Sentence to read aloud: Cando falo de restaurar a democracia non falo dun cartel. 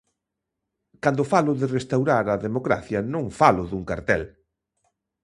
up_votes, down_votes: 2, 0